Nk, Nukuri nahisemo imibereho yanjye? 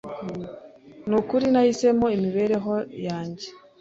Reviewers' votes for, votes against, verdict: 0, 2, rejected